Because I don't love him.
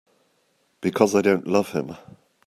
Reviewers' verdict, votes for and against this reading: accepted, 2, 0